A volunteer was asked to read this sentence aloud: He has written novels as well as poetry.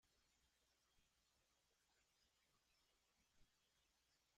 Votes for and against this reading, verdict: 0, 2, rejected